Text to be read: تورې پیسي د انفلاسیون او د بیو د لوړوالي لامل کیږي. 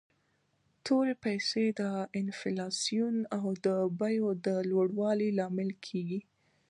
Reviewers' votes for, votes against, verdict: 2, 0, accepted